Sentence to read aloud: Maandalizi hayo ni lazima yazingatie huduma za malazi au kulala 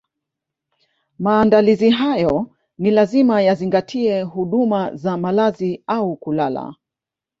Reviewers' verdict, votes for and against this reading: accepted, 2, 0